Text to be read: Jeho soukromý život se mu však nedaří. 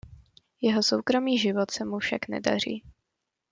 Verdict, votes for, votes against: accepted, 2, 0